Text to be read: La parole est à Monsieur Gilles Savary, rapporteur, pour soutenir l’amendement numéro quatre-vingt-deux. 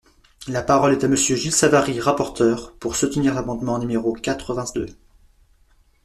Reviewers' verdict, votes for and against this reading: rejected, 0, 2